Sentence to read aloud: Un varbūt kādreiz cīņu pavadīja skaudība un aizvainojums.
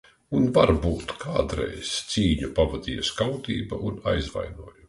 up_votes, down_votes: 0, 2